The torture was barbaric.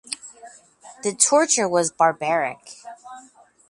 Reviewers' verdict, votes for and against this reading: accepted, 4, 0